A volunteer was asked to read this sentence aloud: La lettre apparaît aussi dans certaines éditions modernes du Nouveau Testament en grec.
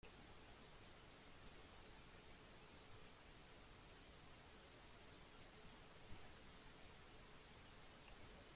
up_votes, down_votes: 0, 2